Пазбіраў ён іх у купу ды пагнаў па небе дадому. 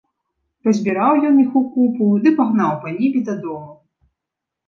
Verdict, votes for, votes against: accepted, 2, 0